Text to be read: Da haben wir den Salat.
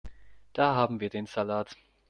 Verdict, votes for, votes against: accepted, 2, 0